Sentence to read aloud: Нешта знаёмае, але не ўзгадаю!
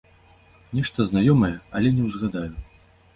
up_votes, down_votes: 2, 0